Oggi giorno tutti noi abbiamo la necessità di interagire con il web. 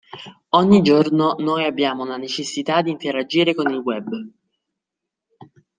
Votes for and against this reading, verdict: 0, 2, rejected